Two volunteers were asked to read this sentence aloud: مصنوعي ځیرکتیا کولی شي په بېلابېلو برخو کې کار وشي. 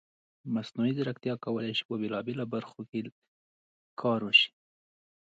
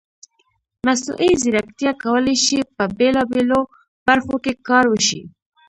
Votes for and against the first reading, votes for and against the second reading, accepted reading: 2, 0, 1, 2, first